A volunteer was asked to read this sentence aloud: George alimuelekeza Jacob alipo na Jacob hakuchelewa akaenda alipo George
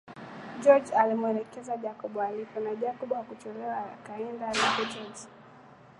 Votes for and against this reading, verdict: 2, 1, accepted